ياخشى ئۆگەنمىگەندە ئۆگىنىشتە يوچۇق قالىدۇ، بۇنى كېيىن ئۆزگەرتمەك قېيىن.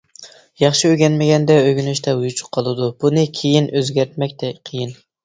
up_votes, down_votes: 0, 2